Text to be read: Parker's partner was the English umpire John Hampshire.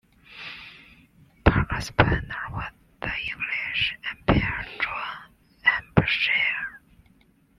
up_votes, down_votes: 0, 2